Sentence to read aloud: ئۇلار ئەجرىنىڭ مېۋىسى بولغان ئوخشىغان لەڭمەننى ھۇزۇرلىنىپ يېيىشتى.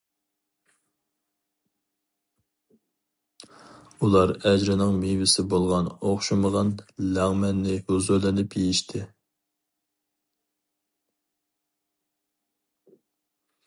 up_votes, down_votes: 2, 0